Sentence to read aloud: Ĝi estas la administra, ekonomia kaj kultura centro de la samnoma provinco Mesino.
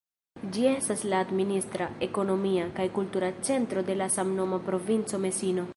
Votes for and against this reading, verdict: 2, 0, accepted